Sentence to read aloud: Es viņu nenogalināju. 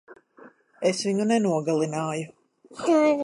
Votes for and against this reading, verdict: 0, 2, rejected